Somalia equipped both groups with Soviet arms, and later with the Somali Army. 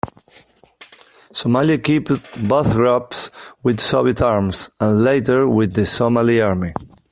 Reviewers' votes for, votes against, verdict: 1, 2, rejected